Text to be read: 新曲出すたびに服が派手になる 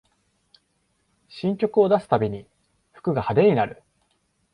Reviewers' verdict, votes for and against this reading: rejected, 0, 2